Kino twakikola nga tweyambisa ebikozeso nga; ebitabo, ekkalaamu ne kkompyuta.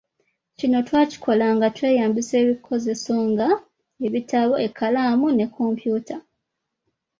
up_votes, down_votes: 2, 0